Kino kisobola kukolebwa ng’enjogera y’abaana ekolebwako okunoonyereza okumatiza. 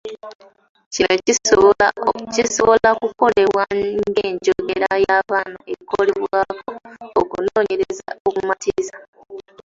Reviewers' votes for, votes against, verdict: 1, 2, rejected